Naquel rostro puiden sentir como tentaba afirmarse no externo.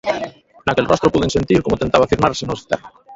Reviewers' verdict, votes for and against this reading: rejected, 0, 2